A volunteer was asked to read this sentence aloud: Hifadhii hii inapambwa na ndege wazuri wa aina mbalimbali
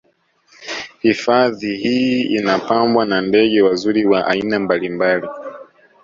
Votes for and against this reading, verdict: 2, 0, accepted